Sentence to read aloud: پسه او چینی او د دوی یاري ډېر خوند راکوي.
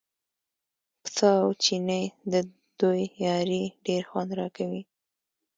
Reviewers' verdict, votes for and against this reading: accepted, 2, 0